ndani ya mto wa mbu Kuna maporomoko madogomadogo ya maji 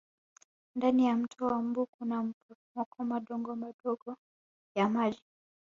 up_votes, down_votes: 1, 2